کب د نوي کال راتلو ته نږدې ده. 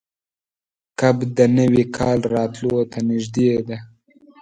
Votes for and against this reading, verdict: 2, 0, accepted